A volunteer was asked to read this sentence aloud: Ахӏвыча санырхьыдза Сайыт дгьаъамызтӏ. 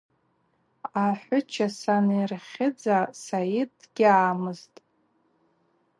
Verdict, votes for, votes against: accepted, 4, 0